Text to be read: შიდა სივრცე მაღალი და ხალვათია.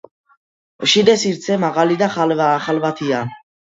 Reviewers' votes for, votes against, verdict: 1, 2, rejected